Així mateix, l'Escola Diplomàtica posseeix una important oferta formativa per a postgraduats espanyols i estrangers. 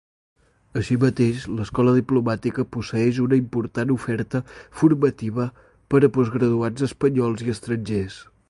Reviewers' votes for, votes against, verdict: 2, 0, accepted